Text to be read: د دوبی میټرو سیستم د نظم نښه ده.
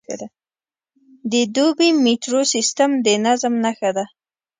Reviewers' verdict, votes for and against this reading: rejected, 1, 2